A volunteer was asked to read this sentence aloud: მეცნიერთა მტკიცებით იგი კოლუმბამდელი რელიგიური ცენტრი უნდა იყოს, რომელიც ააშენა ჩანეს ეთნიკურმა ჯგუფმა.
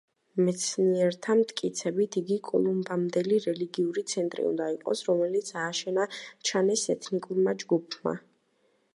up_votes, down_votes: 2, 0